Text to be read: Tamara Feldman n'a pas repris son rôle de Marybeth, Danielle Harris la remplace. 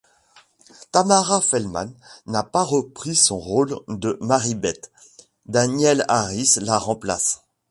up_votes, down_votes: 2, 0